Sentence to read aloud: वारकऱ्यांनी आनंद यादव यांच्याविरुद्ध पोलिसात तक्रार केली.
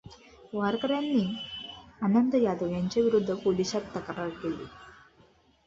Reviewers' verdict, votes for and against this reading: accepted, 2, 0